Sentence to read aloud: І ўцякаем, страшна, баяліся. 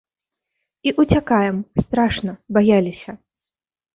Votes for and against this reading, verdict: 3, 0, accepted